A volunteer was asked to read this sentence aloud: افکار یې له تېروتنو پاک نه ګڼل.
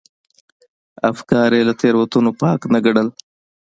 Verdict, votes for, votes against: accepted, 2, 0